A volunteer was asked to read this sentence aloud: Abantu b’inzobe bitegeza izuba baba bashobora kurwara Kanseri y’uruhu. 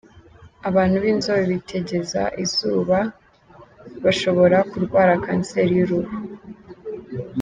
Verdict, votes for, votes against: accepted, 2, 0